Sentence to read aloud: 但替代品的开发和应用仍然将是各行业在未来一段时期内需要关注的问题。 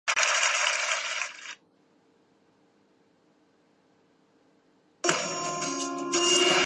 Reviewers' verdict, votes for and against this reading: rejected, 0, 2